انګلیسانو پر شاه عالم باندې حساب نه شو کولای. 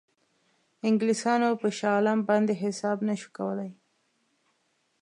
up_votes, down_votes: 2, 0